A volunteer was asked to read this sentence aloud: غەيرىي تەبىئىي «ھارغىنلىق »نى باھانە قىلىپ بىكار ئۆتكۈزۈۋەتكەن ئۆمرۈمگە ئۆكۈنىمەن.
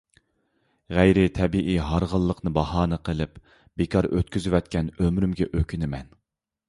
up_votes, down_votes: 2, 0